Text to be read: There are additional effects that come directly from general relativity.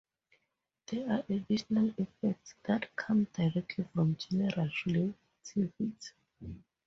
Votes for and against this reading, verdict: 2, 4, rejected